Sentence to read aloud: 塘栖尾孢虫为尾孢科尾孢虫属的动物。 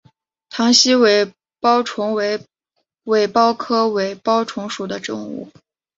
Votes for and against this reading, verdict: 3, 2, accepted